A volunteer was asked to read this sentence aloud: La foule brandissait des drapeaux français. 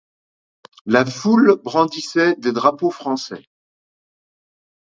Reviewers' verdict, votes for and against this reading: accepted, 2, 0